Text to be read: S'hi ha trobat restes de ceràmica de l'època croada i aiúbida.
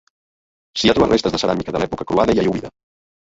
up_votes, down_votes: 0, 2